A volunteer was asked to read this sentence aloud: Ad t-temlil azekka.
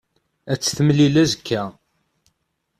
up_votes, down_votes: 2, 0